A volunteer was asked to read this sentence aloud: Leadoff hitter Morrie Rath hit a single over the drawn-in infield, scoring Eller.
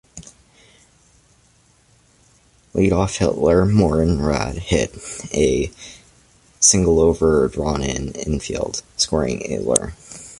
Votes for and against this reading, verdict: 0, 2, rejected